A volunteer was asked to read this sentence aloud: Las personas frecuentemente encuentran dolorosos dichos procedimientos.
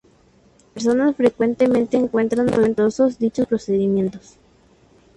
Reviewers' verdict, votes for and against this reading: rejected, 0, 2